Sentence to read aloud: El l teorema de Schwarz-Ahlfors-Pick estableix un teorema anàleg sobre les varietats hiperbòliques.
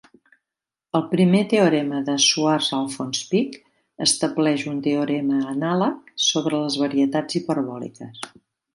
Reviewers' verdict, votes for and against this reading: accepted, 2, 0